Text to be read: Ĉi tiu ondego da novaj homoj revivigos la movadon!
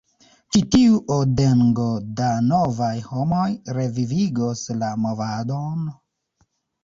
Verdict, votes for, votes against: rejected, 0, 2